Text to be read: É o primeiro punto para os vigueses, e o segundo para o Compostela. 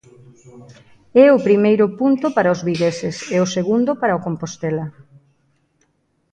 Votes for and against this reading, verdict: 2, 0, accepted